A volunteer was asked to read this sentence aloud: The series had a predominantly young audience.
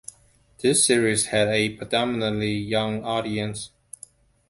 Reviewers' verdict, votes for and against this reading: accepted, 2, 0